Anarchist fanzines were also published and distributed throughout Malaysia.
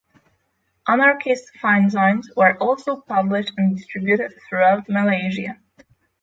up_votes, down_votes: 3, 0